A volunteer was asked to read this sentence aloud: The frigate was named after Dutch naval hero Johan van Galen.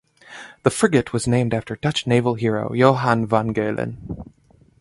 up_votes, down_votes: 2, 0